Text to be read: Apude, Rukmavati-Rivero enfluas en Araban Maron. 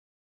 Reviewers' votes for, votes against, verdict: 0, 2, rejected